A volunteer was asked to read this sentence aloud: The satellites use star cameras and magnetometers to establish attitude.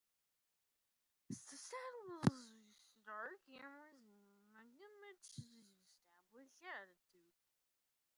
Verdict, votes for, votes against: rejected, 0, 2